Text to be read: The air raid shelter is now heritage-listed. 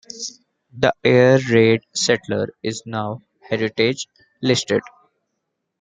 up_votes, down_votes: 1, 2